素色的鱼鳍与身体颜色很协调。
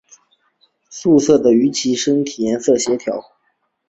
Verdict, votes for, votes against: accepted, 2, 1